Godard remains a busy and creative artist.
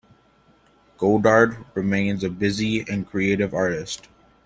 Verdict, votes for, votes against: accepted, 2, 0